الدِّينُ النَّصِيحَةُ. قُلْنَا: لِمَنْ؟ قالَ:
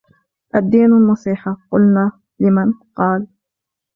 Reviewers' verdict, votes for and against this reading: accepted, 2, 1